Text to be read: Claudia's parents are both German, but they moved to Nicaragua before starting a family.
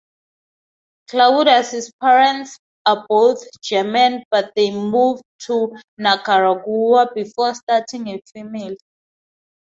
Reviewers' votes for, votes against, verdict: 0, 4, rejected